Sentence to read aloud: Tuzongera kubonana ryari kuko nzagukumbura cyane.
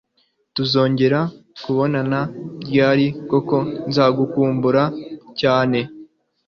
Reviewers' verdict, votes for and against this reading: accepted, 2, 0